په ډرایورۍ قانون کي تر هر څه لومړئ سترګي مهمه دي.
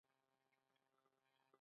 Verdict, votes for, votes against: rejected, 0, 2